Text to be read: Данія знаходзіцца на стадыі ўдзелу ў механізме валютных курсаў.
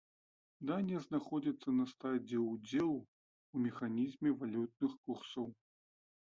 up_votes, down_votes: 0, 2